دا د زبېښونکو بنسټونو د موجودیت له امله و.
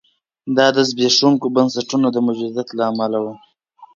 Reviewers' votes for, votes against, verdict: 3, 0, accepted